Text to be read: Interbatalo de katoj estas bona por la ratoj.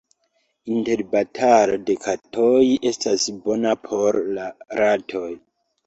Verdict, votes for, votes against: accepted, 2, 1